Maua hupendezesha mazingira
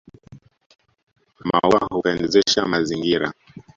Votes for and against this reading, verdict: 1, 2, rejected